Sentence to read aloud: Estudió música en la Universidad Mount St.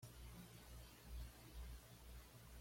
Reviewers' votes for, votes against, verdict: 1, 2, rejected